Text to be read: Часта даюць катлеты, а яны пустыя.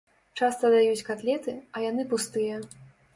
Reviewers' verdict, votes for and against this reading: accepted, 4, 0